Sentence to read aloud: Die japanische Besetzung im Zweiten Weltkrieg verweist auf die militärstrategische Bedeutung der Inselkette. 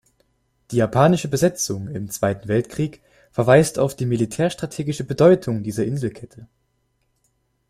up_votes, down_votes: 0, 2